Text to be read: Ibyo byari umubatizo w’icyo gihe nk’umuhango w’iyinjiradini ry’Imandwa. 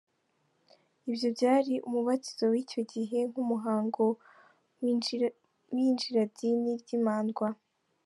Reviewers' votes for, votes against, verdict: 0, 2, rejected